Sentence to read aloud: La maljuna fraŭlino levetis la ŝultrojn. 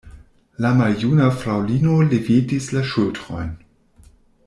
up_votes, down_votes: 2, 0